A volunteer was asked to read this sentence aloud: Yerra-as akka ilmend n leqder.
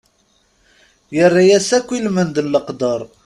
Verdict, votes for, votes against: rejected, 0, 2